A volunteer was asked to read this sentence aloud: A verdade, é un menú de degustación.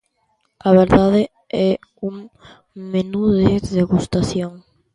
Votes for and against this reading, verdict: 1, 2, rejected